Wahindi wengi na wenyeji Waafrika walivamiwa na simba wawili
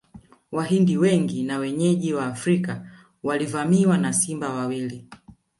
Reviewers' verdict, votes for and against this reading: rejected, 0, 2